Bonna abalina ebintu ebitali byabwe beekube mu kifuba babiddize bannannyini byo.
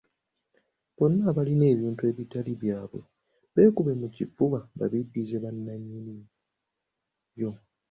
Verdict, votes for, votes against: accepted, 2, 0